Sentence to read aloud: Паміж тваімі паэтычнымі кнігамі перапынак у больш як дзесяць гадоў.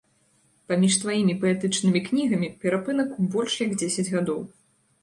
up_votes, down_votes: 2, 0